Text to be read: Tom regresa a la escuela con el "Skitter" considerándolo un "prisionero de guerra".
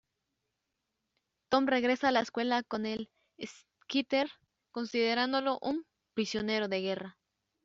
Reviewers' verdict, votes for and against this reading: rejected, 1, 2